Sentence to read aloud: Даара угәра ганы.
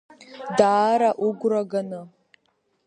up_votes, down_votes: 0, 2